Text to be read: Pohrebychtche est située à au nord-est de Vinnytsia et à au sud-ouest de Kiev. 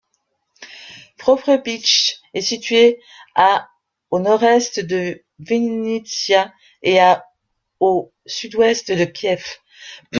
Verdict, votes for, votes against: rejected, 1, 2